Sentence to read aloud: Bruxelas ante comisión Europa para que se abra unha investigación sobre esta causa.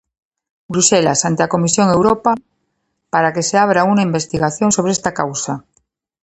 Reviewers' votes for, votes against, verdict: 0, 2, rejected